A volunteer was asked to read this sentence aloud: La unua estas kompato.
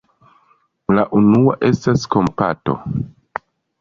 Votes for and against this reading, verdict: 2, 0, accepted